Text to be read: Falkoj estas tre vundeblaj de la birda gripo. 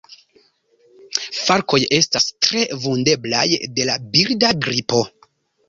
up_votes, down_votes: 1, 2